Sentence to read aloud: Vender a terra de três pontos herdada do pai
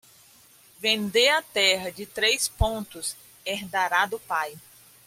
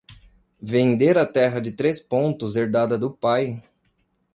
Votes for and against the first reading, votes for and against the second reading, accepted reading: 0, 2, 2, 0, second